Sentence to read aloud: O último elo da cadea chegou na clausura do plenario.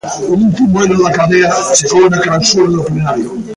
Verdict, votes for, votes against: rejected, 0, 2